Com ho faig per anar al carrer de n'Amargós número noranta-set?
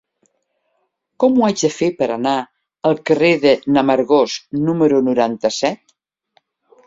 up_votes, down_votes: 0, 2